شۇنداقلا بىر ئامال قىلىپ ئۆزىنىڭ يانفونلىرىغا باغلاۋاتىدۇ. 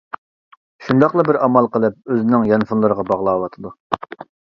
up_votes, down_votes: 2, 0